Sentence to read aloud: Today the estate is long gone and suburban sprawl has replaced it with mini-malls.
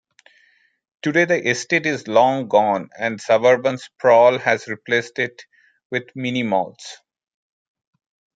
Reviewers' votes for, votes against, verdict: 1, 2, rejected